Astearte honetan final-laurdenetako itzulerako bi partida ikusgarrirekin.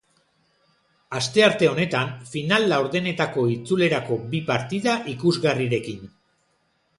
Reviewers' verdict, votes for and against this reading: accepted, 3, 0